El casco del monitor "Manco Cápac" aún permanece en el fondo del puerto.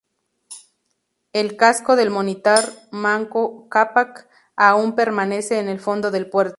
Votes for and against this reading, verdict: 2, 0, accepted